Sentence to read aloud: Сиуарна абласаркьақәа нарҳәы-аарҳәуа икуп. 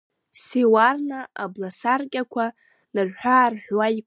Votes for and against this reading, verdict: 0, 2, rejected